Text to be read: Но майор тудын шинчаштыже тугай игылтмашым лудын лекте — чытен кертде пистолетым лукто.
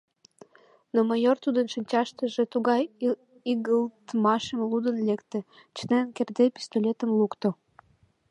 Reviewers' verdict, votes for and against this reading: accepted, 2, 0